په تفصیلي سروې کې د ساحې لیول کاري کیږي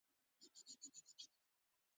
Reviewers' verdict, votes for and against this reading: rejected, 1, 2